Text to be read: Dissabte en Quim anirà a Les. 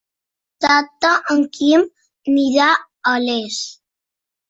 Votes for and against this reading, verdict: 0, 2, rejected